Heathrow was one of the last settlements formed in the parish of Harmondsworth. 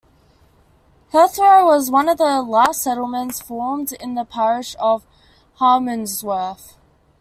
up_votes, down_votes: 1, 2